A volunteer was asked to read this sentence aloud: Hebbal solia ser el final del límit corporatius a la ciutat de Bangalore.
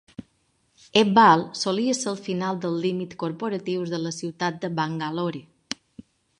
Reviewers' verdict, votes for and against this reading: rejected, 1, 2